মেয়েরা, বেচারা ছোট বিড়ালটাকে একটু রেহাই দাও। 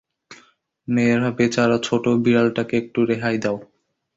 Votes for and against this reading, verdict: 2, 0, accepted